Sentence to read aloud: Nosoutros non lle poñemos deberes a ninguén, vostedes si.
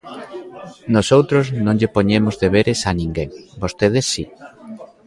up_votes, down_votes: 1, 2